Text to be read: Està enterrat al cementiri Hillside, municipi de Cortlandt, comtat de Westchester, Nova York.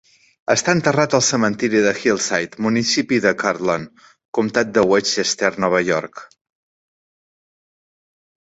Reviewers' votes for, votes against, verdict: 0, 2, rejected